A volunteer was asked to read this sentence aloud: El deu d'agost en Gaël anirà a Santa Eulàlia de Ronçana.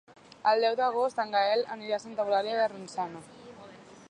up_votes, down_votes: 2, 1